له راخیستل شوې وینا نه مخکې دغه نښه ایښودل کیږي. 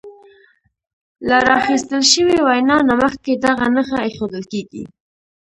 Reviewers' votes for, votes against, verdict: 2, 1, accepted